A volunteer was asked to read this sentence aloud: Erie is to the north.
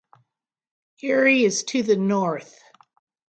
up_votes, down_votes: 3, 0